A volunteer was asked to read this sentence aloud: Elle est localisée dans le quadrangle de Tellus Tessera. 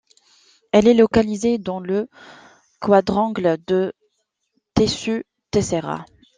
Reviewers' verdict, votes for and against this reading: rejected, 0, 2